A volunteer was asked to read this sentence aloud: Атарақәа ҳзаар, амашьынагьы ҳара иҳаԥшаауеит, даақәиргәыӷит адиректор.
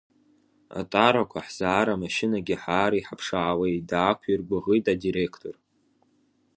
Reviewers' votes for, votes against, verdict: 1, 2, rejected